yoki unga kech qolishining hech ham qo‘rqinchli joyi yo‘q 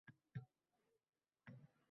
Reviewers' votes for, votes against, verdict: 0, 2, rejected